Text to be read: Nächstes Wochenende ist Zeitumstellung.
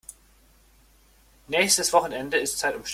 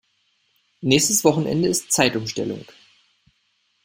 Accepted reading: second